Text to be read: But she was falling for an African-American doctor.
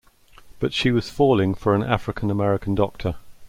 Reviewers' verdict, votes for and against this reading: accepted, 2, 0